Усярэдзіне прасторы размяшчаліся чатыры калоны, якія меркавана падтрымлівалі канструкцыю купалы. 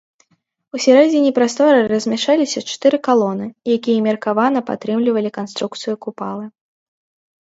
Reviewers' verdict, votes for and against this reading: rejected, 0, 2